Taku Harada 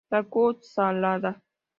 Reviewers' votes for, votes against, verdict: 2, 0, accepted